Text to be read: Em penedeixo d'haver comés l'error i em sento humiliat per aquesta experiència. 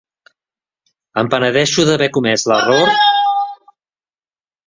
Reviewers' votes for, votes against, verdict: 0, 2, rejected